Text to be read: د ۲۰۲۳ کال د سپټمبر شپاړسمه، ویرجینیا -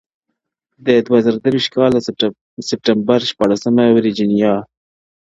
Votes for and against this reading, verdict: 0, 2, rejected